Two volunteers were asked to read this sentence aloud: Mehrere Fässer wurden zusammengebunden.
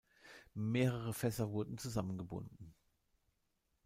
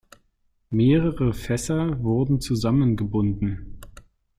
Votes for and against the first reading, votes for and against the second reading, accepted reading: 0, 2, 2, 0, second